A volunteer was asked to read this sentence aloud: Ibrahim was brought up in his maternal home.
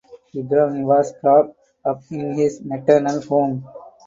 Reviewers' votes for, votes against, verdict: 4, 0, accepted